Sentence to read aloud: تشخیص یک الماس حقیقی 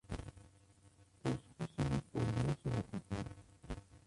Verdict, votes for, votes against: rejected, 0, 2